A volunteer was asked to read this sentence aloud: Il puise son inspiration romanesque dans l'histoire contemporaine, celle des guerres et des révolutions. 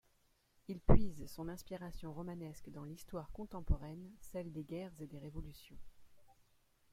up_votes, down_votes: 1, 2